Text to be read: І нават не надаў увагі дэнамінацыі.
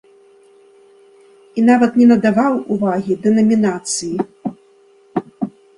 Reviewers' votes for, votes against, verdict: 0, 2, rejected